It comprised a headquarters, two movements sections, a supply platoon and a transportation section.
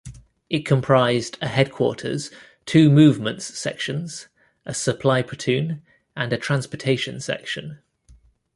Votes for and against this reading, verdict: 2, 0, accepted